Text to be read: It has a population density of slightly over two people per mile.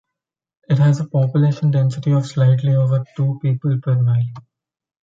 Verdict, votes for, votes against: accepted, 2, 0